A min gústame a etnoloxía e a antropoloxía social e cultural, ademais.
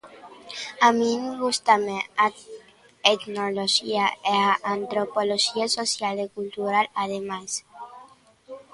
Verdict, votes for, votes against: rejected, 0, 2